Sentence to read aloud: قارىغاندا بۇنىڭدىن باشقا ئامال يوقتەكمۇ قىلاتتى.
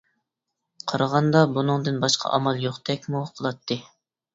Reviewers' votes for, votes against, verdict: 2, 0, accepted